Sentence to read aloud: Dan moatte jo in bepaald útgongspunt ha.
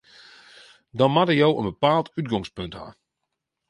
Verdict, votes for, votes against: rejected, 0, 2